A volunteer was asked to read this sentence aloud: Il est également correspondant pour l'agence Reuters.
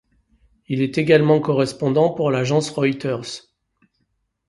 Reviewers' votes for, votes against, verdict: 2, 0, accepted